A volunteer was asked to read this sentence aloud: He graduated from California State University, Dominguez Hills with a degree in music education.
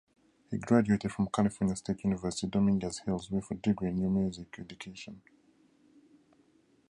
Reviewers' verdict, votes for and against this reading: rejected, 0, 2